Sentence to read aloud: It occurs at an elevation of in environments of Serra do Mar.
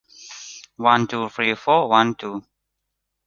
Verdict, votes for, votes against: rejected, 0, 2